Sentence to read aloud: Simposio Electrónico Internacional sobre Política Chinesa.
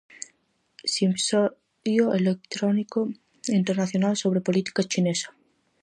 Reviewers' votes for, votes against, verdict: 0, 4, rejected